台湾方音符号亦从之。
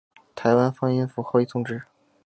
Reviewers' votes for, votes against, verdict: 2, 0, accepted